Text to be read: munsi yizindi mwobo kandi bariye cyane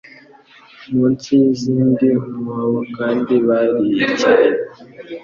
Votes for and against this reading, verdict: 2, 0, accepted